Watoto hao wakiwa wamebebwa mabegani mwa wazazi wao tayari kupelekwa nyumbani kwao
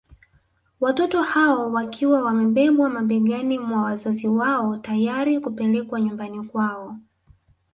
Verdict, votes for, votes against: rejected, 1, 2